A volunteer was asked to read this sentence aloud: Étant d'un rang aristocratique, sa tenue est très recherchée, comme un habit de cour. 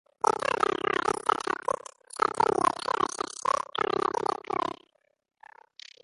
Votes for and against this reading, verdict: 0, 2, rejected